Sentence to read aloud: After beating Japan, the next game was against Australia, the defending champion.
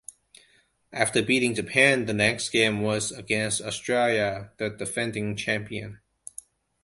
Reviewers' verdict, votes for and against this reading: accepted, 2, 1